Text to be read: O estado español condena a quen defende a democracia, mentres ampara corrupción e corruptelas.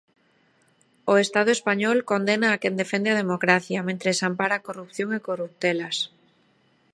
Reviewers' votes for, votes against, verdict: 2, 0, accepted